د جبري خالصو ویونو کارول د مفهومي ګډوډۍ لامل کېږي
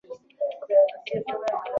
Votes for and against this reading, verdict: 0, 2, rejected